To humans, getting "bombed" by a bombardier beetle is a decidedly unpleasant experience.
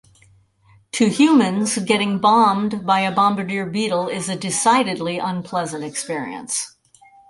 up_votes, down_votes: 4, 0